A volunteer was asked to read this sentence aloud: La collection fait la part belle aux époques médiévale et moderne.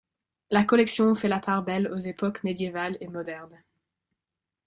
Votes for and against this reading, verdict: 2, 0, accepted